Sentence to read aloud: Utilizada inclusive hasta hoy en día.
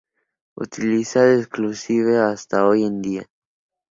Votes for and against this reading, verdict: 2, 2, rejected